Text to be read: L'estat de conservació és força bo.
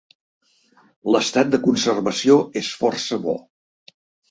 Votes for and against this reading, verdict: 3, 0, accepted